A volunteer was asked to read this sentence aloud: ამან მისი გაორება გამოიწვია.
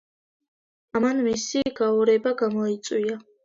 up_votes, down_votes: 2, 0